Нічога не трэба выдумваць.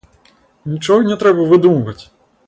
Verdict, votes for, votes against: rejected, 0, 2